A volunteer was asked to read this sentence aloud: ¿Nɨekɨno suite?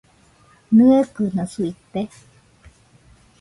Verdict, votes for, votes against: rejected, 0, 2